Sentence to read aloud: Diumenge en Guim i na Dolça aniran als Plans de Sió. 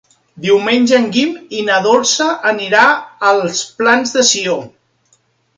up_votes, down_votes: 0, 2